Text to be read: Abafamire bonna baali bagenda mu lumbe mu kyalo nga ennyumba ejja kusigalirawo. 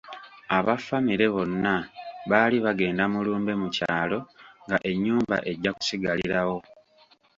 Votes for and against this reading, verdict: 2, 0, accepted